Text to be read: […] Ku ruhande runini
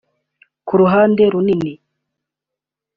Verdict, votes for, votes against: accepted, 2, 0